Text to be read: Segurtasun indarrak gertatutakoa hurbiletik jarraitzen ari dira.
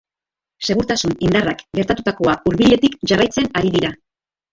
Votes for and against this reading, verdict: 1, 2, rejected